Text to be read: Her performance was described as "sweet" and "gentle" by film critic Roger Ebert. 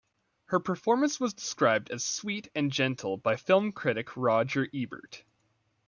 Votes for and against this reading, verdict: 1, 2, rejected